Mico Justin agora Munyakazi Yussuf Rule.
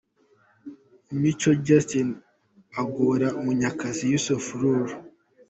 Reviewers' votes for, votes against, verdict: 2, 0, accepted